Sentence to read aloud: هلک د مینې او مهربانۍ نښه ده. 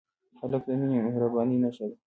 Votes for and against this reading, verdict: 2, 1, accepted